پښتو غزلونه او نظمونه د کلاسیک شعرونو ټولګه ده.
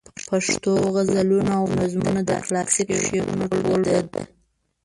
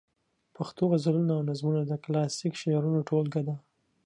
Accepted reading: second